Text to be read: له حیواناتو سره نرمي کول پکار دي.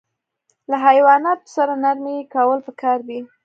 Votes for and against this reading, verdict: 2, 0, accepted